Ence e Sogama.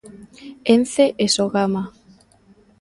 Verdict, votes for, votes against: accepted, 2, 0